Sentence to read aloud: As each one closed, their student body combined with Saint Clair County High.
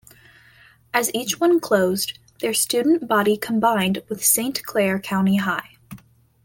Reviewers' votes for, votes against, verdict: 2, 0, accepted